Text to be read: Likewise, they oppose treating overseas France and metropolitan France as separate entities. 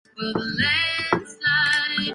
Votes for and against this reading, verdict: 0, 2, rejected